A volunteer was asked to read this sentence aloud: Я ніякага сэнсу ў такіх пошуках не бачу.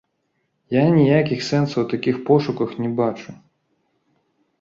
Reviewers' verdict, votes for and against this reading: rejected, 0, 2